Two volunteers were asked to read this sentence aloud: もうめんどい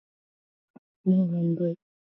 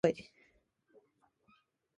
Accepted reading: first